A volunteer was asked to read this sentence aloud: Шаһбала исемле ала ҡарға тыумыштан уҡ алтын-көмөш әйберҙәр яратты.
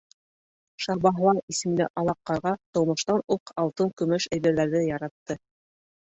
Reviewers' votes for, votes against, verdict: 1, 2, rejected